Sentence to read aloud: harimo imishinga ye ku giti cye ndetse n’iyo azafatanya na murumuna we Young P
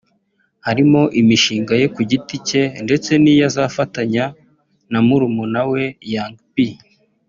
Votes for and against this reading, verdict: 2, 1, accepted